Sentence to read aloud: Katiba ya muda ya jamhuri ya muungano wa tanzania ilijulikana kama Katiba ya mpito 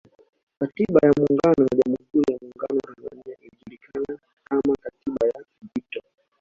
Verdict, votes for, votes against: rejected, 1, 2